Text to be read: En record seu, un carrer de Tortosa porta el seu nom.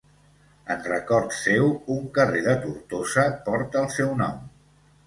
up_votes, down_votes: 2, 0